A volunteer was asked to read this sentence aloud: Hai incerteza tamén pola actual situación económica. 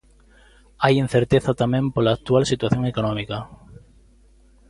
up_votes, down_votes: 2, 0